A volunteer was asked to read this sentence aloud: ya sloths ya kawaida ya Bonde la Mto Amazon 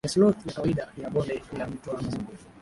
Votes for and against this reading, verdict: 0, 4, rejected